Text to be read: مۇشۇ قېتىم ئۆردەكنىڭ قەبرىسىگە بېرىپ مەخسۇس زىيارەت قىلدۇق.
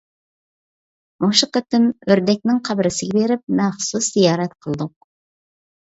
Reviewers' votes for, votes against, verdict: 2, 0, accepted